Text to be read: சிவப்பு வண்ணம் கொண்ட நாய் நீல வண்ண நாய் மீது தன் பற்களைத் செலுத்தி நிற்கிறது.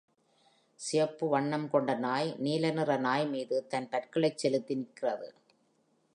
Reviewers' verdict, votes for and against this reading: rejected, 1, 2